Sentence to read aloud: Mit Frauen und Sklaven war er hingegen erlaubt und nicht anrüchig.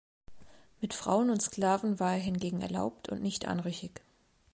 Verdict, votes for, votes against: accepted, 2, 0